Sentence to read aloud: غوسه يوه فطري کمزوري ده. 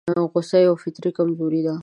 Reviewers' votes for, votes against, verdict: 2, 1, accepted